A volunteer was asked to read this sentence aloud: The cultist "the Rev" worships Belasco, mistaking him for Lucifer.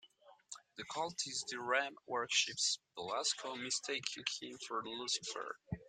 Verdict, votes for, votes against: rejected, 0, 2